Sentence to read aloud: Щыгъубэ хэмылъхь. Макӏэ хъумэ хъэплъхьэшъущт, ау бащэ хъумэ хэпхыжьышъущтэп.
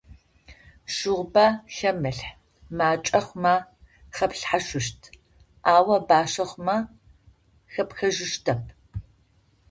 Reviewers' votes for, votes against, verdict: 0, 2, rejected